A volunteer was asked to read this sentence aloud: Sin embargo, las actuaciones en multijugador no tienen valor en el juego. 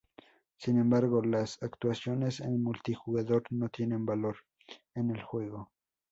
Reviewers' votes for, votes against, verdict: 4, 0, accepted